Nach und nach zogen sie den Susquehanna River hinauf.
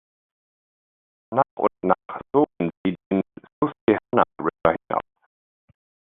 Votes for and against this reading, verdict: 0, 2, rejected